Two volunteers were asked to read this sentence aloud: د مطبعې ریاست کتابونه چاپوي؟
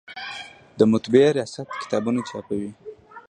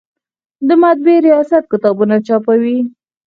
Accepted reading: first